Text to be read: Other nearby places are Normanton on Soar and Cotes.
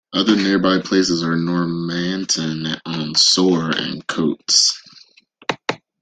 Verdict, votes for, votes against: rejected, 1, 2